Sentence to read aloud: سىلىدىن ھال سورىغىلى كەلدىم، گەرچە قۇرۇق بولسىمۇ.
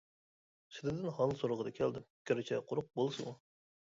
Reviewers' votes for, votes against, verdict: 1, 2, rejected